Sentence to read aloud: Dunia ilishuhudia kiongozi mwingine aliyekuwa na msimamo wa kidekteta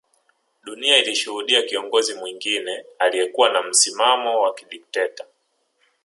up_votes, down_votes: 0, 2